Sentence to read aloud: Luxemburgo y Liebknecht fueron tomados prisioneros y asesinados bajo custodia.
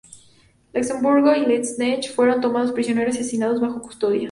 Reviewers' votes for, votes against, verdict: 2, 0, accepted